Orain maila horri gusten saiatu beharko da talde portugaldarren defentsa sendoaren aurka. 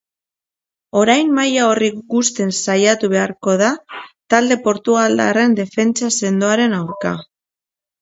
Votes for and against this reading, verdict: 2, 0, accepted